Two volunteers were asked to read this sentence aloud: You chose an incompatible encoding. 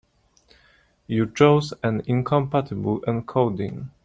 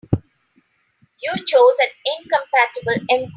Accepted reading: first